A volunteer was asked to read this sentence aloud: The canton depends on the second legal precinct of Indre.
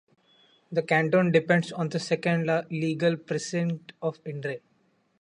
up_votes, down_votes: 1, 2